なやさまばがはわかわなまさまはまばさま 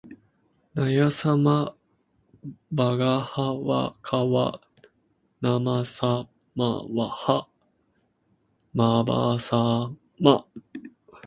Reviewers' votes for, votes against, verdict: 0, 2, rejected